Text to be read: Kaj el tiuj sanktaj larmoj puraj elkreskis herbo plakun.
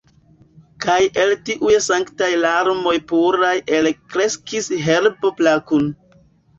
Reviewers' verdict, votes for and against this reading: accepted, 2, 0